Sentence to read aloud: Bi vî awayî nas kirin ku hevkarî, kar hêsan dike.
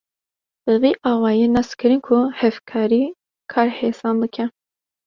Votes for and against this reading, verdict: 2, 0, accepted